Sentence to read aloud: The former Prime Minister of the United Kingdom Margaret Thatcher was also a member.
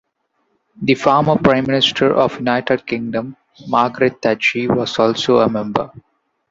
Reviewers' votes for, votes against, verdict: 1, 2, rejected